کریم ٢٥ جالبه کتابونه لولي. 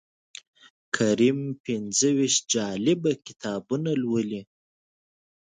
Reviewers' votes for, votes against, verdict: 0, 2, rejected